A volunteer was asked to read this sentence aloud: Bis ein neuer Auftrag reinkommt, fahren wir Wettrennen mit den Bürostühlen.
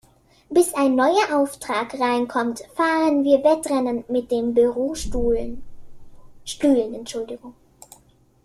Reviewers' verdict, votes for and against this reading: rejected, 0, 2